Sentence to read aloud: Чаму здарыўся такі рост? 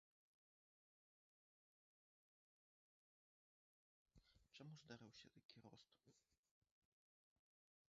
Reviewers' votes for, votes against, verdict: 0, 2, rejected